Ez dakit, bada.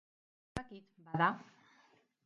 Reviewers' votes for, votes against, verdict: 0, 2, rejected